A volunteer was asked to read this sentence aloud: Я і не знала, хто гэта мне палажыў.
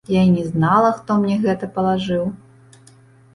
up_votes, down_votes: 1, 2